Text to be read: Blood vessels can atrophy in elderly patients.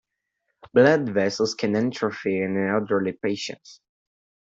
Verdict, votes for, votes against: rejected, 1, 2